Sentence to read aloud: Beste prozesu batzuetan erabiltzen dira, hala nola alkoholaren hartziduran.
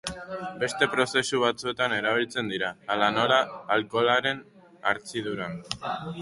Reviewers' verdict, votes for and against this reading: rejected, 2, 4